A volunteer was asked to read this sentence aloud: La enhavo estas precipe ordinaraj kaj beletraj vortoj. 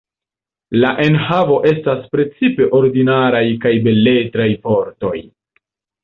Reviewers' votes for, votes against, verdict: 2, 0, accepted